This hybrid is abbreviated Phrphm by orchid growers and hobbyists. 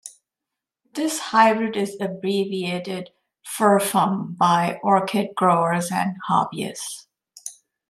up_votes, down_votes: 1, 2